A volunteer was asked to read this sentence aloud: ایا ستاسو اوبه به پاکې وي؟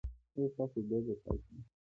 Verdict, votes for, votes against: rejected, 0, 2